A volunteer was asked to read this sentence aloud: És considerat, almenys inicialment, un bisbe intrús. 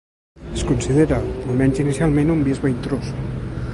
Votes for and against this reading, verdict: 1, 2, rejected